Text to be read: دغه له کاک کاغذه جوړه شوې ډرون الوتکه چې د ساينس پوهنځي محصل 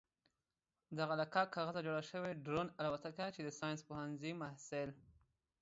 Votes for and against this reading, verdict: 2, 0, accepted